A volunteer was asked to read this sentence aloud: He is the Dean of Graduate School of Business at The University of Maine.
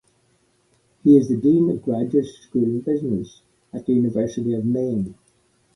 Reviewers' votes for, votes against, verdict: 2, 1, accepted